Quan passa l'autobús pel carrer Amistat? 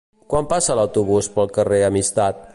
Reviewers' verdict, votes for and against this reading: accepted, 2, 0